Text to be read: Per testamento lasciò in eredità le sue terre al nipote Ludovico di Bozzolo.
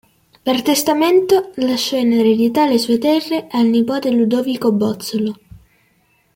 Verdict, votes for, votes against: rejected, 1, 2